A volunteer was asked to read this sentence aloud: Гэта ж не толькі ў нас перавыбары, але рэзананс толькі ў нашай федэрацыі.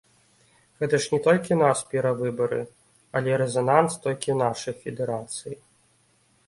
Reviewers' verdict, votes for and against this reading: accepted, 2, 0